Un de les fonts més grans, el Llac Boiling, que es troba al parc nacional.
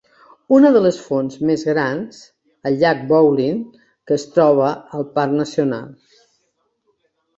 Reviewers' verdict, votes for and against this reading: rejected, 2, 3